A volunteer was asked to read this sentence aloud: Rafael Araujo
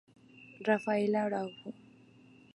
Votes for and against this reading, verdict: 2, 0, accepted